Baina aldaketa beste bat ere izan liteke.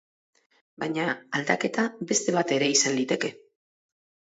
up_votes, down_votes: 4, 0